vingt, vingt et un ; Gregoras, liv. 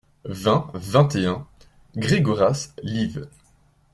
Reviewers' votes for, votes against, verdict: 2, 0, accepted